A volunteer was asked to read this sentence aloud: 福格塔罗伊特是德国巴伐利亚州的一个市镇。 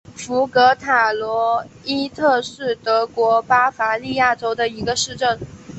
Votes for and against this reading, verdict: 2, 1, accepted